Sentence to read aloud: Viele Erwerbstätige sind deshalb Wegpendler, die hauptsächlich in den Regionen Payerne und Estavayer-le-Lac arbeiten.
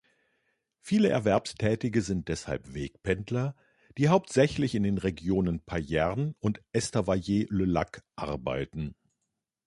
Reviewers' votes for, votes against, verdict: 2, 0, accepted